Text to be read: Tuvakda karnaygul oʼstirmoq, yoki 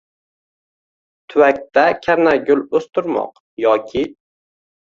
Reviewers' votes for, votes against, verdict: 2, 0, accepted